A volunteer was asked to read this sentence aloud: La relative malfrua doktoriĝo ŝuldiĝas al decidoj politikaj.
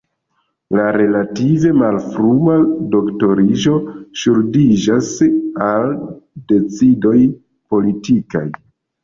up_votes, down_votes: 0, 2